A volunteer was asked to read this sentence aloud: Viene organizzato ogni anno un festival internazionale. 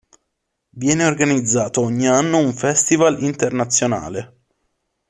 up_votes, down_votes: 2, 0